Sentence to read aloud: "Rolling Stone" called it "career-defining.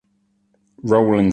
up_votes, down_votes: 0, 2